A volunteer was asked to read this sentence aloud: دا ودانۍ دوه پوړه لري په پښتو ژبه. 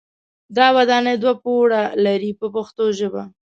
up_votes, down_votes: 2, 0